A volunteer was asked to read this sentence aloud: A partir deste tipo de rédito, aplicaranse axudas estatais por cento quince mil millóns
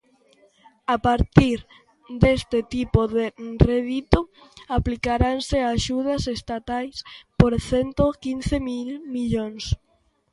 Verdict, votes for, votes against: rejected, 1, 2